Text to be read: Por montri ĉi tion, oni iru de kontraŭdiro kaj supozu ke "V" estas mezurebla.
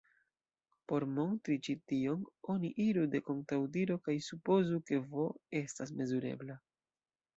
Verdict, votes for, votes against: accepted, 2, 1